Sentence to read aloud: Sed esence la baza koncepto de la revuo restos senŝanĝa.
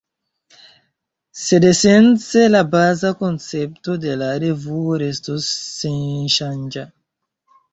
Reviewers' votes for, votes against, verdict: 1, 2, rejected